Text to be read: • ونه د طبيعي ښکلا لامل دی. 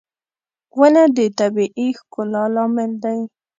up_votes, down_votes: 2, 0